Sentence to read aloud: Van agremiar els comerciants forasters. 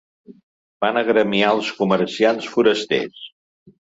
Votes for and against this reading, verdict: 2, 0, accepted